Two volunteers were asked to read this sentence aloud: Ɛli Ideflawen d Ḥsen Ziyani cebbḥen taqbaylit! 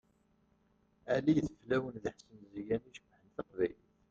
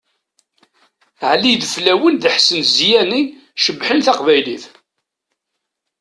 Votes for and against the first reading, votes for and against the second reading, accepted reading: 0, 3, 2, 0, second